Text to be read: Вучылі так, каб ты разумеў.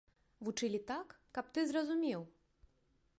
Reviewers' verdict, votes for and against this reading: rejected, 0, 2